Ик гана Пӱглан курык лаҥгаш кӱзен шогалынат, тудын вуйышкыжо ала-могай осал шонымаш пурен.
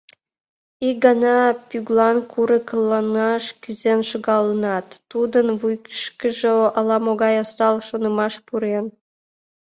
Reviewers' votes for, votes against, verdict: 0, 2, rejected